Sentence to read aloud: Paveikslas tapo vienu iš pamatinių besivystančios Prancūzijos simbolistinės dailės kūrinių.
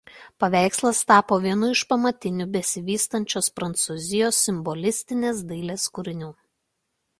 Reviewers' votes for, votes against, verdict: 2, 0, accepted